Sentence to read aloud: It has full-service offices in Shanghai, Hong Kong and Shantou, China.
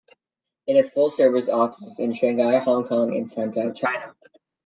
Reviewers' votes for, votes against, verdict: 2, 0, accepted